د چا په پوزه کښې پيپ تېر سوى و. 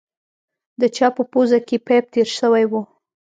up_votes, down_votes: 2, 0